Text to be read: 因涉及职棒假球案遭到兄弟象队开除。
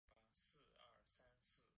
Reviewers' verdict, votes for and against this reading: rejected, 0, 3